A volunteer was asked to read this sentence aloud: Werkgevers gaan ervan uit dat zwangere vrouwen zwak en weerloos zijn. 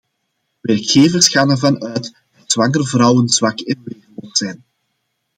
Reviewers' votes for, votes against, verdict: 0, 2, rejected